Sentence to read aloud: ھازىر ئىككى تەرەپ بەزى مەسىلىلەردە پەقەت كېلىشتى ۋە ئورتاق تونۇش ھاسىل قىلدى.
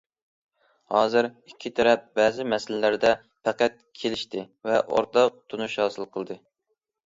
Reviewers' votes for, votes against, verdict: 2, 0, accepted